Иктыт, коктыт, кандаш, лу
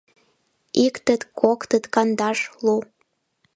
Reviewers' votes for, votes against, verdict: 2, 3, rejected